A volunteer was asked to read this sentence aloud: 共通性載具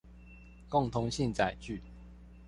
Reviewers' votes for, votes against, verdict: 2, 0, accepted